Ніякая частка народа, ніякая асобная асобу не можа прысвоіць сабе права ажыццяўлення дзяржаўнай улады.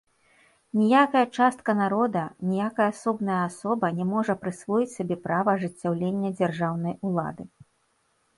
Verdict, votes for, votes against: rejected, 0, 2